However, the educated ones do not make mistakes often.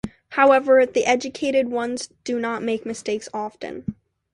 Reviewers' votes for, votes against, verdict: 2, 0, accepted